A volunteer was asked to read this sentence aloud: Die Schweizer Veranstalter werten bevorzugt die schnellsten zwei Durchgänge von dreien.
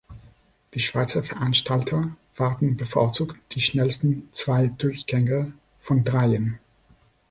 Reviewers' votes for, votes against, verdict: 1, 2, rejected